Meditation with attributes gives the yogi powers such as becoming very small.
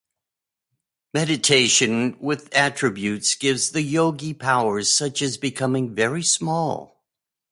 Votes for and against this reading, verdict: 2, 0, accepted